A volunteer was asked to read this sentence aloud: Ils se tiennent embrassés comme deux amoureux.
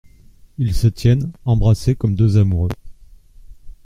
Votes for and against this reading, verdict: 2, 0, accepted